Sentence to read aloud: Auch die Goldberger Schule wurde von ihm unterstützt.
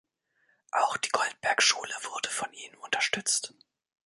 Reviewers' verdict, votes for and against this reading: rejected, 0, 3